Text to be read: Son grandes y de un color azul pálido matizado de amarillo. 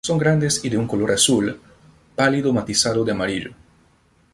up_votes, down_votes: 2, 0